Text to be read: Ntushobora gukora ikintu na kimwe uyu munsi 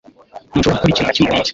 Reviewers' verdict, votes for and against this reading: rejected, 1, 2